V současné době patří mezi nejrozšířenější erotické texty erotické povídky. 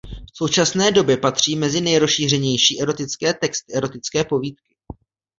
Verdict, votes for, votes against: accepted, 2, 0